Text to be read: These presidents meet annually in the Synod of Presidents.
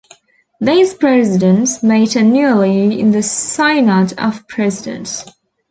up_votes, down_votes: 0, 2